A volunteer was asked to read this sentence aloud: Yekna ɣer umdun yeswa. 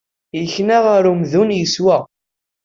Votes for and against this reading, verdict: 2, 0, accepted